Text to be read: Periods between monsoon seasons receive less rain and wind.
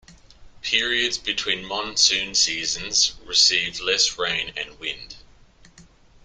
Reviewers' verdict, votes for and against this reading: accepted, 2, 0